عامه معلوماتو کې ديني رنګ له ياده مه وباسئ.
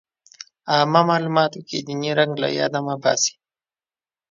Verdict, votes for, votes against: accepted, 2, 0